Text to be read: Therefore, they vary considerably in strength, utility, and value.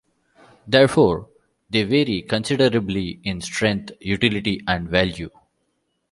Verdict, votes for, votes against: accepted, 2, 0